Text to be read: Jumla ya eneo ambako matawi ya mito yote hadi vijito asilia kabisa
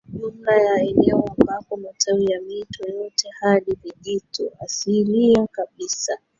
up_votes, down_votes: 0, 2